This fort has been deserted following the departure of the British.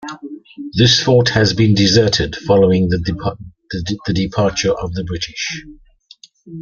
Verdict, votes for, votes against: rejected, 0, 2